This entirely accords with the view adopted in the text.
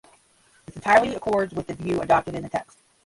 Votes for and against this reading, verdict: 0, 10, rejected